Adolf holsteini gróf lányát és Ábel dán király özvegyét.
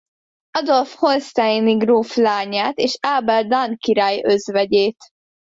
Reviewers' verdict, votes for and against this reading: accepted, 2, 0